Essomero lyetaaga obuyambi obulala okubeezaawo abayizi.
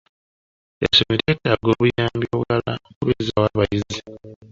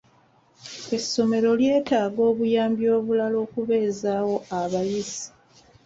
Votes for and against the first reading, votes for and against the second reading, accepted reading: 0, 2, 2, 0, second